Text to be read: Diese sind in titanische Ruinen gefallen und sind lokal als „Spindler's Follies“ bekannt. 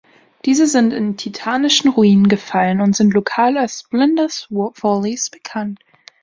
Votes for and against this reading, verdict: 0, 2, rejected